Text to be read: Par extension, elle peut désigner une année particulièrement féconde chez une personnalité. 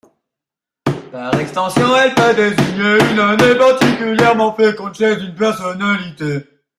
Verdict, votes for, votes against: rejected, 1, 2